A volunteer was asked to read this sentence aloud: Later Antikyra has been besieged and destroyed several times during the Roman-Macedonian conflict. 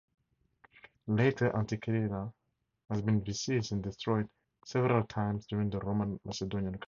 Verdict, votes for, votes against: rejected, 0, 2